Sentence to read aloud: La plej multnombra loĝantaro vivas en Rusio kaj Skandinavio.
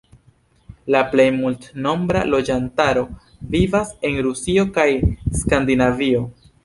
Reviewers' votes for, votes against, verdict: 3, 0, accepted